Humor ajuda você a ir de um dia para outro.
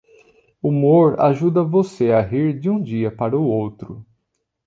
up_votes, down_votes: 0, 2